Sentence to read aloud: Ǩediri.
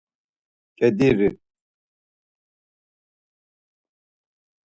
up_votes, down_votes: 4, 0